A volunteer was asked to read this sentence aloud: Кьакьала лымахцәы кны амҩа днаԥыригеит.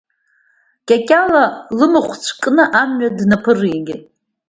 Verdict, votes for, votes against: rejected, 1, 2